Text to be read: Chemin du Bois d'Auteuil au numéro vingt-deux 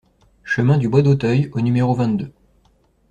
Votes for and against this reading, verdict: 2, 0, accepted